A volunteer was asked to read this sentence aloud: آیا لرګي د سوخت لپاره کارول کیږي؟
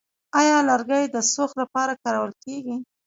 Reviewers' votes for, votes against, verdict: 1, 2, rejected